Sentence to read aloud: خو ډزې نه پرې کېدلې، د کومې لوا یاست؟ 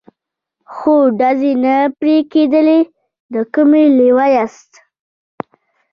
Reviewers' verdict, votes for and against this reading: accepted, 2, 1